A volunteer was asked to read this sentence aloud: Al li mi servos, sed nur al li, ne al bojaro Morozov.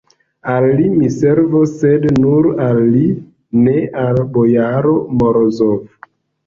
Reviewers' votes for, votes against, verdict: 0, 2, rejected